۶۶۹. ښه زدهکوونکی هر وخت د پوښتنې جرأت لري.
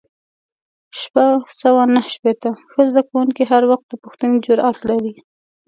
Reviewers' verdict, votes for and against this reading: rejected, 0, 2